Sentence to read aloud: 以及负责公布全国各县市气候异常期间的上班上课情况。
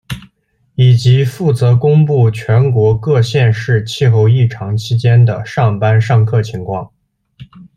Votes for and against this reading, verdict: 2, 0, accepted